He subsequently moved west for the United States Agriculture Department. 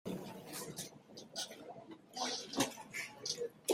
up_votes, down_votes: 0, 2